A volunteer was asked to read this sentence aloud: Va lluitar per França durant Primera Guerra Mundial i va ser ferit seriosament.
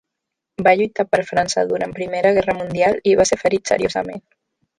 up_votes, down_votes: 1, 2